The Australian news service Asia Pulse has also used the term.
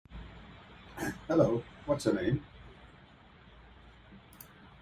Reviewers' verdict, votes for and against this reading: rejected, 0, 2